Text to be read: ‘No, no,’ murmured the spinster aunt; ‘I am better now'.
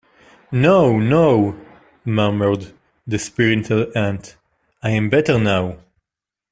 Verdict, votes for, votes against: rejected, 0, 2